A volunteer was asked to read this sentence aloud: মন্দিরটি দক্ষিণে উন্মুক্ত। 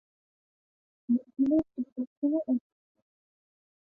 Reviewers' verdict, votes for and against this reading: rejected, 0, 2